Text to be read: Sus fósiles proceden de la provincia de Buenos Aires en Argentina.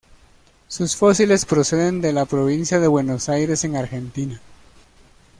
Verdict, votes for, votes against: accepted, 2, 0